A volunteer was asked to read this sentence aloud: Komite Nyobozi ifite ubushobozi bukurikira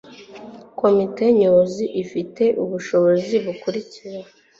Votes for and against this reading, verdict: 2, 0, accepted